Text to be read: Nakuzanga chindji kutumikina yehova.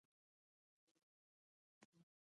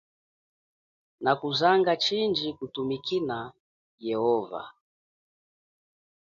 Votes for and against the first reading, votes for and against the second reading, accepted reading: 0, 2, 2, 0, second